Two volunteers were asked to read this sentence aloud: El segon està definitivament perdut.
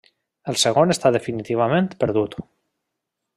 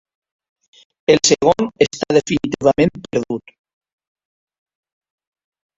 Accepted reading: first